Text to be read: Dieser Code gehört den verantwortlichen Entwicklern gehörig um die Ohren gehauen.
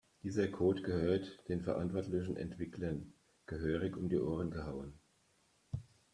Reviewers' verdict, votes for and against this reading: rejected, 1, 2